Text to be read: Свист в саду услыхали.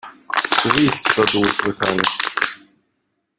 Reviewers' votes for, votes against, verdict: 0, 2, rejected